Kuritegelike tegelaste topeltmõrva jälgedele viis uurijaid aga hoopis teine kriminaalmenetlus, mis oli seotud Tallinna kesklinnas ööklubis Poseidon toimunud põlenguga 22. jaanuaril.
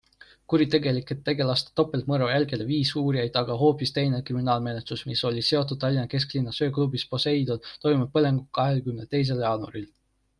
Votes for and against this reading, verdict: 0, 2, rejected